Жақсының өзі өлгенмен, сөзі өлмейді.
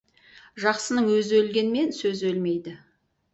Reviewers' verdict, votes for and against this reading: accepted, 4, 0